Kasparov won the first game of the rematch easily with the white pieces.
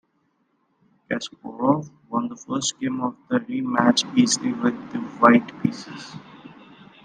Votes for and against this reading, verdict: 2, 0, accepted